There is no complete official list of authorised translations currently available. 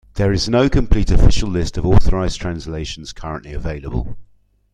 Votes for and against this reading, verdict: 2, 0, accepted